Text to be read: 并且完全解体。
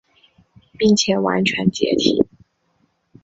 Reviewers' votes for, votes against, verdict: 2, 0, accepted